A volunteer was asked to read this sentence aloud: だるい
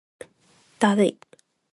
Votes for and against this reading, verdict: 2, 0, accepted